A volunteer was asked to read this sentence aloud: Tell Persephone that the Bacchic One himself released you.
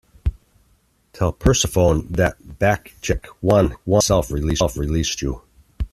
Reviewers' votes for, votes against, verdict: 0, 2, rejected